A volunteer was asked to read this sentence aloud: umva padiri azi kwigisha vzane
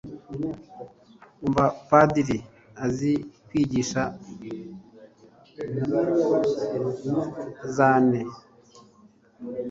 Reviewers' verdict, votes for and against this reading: accepted, 2, 0